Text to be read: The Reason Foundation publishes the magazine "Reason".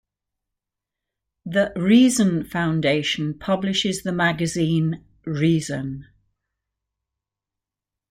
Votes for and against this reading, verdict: 2, 0, accepted